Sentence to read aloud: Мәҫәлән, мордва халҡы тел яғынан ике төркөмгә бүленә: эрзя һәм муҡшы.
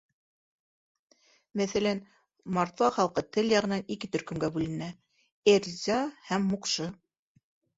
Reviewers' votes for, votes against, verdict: 2, 0, accepted